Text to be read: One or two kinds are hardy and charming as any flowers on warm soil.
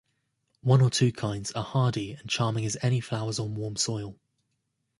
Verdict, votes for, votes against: rejected, 1, 2